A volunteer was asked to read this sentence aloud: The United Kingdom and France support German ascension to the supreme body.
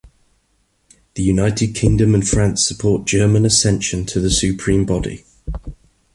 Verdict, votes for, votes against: accepted, 2, 0